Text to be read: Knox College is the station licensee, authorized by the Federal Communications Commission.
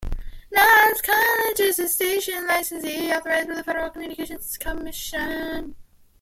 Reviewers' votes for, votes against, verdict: 0, 2, rejected